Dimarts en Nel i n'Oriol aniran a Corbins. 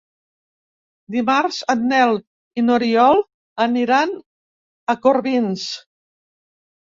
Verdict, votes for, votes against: accepted, 3, 0